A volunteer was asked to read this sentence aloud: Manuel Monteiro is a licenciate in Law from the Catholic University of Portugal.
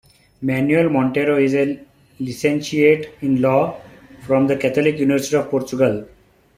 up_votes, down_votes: 0, 2